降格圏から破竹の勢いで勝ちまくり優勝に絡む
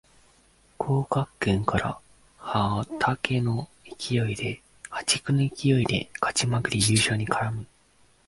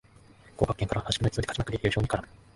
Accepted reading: second